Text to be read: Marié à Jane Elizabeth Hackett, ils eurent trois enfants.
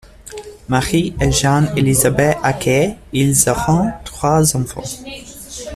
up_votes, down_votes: 0, 2